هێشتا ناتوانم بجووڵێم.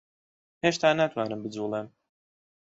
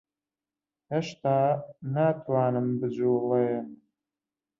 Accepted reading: first